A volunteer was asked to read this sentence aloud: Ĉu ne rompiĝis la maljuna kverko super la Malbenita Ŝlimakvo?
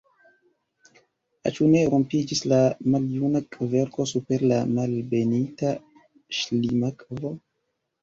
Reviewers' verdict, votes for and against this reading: rejected, 1, 2